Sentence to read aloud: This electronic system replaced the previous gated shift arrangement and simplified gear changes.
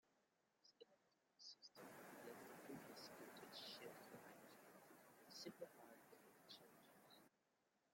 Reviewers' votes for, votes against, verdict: 0, 2, rejected